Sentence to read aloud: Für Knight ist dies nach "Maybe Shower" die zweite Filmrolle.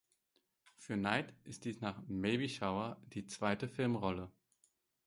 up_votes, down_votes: 4, 0